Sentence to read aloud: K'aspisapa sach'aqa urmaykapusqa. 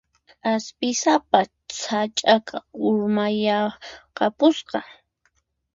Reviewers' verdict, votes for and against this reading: rejected, 2, 4